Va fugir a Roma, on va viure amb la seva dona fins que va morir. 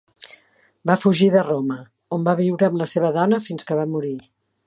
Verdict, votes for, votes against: rejected, 1, 2